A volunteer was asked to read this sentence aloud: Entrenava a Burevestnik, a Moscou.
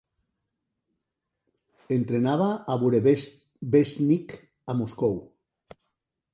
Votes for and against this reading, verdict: 0, 2, rejected